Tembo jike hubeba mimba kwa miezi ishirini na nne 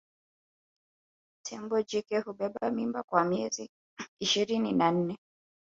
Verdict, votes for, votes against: rejected, 0, 2